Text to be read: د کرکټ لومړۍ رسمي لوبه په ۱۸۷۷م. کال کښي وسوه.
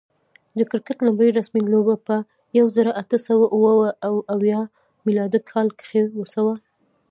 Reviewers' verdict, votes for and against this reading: rejected, 0, 2